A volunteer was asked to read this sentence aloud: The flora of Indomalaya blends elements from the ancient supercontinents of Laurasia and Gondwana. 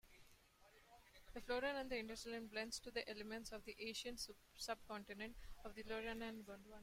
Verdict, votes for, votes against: rejected, 0, 2